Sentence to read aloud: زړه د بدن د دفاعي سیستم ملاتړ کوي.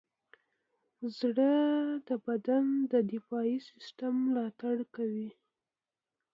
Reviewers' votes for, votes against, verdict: 2, 0, accepted